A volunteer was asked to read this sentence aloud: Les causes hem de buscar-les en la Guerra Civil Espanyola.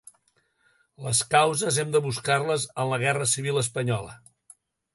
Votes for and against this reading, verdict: 3, 0, accepted